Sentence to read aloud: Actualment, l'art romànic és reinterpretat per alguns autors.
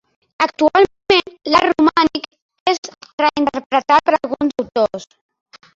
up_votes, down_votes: 0, 2